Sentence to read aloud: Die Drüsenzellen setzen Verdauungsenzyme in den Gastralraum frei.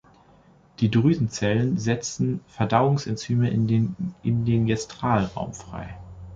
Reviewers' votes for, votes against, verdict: 0, 2, rejected